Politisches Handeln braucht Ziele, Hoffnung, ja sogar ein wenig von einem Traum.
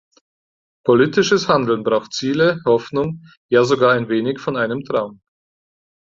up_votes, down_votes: 4, 0